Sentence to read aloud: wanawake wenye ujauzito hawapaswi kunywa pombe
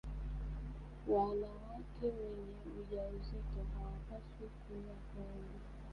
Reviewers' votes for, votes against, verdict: 0, 2, rejected